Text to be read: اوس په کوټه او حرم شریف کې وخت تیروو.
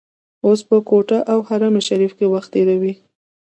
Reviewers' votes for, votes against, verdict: 0, 2, rejected